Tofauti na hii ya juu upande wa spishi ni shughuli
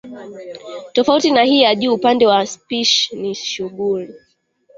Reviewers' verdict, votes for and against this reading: accepted, 2, 0